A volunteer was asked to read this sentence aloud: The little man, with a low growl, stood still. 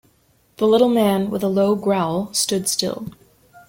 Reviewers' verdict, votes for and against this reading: accepted, 2, 0